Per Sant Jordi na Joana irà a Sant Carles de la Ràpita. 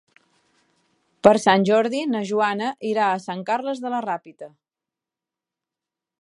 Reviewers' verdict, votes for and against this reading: accepted, 3, 0